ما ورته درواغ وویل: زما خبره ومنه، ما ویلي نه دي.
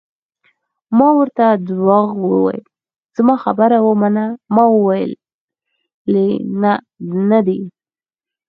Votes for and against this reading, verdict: 4, 2, accepted